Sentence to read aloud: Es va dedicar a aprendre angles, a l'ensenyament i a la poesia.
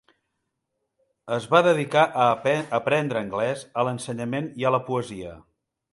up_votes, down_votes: 0, 2